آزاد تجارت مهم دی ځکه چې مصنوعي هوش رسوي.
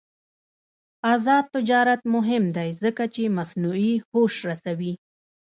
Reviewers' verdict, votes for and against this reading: rejected, 0, 2